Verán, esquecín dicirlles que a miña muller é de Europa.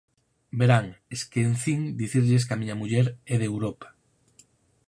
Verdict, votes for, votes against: rejected, 2, 4